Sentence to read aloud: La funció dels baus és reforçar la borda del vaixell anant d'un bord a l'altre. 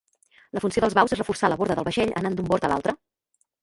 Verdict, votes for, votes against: rejected, 0, 2